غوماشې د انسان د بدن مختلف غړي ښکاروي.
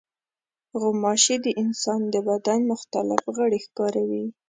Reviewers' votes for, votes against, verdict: 2, 0, accepted